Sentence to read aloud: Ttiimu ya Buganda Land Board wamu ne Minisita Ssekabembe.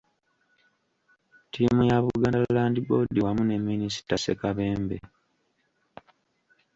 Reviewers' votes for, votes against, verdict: 2, 1, accepted